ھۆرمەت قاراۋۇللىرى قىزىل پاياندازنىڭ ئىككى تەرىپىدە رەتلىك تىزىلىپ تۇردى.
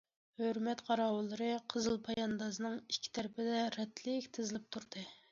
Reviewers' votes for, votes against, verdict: 2, 0, accepted